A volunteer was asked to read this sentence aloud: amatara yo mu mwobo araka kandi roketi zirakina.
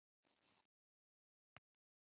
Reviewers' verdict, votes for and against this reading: rejected, 1, 2